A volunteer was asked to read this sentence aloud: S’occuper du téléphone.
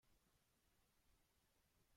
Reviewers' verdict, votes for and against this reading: rejected, 0, 2